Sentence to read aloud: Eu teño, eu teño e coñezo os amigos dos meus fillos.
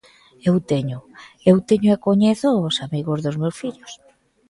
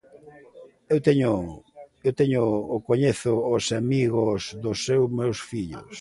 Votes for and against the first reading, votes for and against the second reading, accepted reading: 2, 0, 0, 2, first